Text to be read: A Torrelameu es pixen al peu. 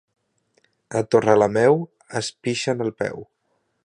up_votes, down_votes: 2, 0